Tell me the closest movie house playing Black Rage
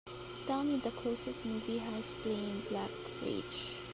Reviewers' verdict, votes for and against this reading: accepted, 3, 2